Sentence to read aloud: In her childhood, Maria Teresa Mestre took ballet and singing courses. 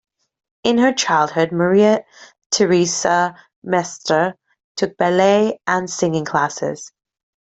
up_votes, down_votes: 0, 2